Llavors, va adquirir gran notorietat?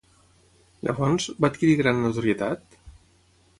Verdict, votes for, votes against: rejected, 3, 3